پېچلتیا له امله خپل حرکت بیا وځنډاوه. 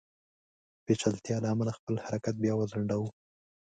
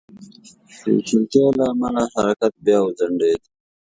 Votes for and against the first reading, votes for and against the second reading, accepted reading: 2, 0, 1, 2, first